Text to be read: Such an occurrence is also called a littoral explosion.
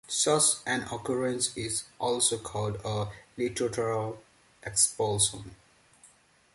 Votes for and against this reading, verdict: 1, 2, rejected